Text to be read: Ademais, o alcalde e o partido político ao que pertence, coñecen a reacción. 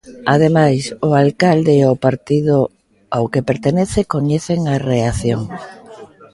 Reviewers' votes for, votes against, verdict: 0, 2, rejected